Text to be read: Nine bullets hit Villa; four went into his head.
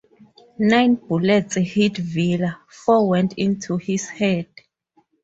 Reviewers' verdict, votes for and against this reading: rejected, 0, 2